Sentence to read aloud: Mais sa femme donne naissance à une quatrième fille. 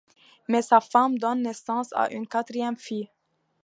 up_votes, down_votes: 2, 0